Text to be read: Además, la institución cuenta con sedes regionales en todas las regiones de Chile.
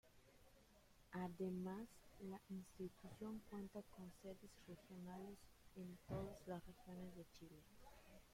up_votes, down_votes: 0, 2